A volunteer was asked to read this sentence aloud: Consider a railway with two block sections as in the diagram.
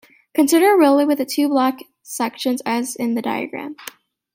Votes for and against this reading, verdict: 1, 2, rejected